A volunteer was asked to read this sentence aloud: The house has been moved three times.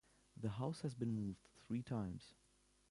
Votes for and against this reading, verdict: 2, 0, accepted